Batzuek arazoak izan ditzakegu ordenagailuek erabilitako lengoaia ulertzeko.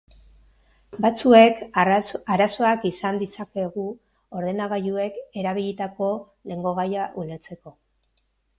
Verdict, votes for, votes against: rejected, 0, 2